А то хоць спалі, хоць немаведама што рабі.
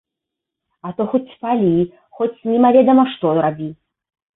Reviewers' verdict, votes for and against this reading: accepted, 2, 0